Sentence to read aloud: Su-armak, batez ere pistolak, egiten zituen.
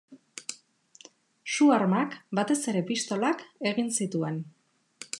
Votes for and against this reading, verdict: 0, 2, rejected